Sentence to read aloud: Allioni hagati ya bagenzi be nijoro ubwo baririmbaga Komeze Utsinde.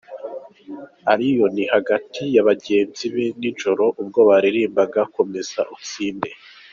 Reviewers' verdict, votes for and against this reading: accepted, 4, 0